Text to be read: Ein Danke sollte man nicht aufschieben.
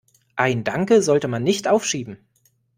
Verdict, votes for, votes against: accepted, 2, 0